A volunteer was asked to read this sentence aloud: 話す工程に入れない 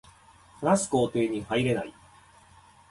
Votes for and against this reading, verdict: 3, 0, accepted